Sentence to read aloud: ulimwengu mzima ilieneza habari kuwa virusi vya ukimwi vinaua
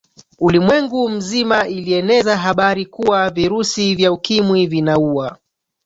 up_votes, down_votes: 0, 2